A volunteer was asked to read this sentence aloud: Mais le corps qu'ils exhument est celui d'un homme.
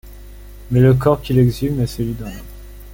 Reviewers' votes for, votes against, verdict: 0, 2, rejected